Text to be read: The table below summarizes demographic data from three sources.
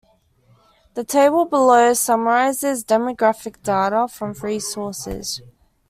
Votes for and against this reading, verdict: 2, 0, accepted